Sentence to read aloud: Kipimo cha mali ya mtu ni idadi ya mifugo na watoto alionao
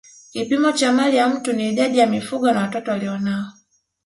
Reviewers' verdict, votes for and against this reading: rejected, 1, 2